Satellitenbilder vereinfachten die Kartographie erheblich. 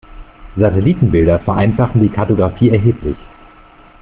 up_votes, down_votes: 1, 2